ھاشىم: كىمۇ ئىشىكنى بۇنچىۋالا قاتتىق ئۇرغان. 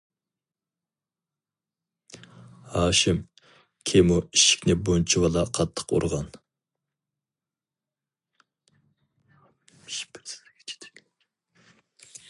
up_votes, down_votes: 0, 2